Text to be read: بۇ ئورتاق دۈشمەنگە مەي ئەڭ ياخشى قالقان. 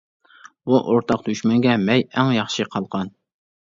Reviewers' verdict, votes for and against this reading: accepted, 2, 0